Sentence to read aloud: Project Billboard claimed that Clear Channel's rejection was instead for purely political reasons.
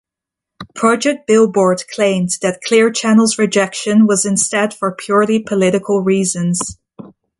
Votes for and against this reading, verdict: 2, 0, accepted